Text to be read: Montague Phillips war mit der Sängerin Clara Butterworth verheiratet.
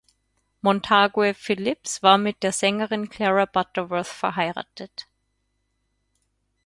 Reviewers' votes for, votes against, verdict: 2, 4, rejected